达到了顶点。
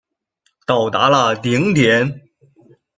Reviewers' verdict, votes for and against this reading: rejected, 0, 2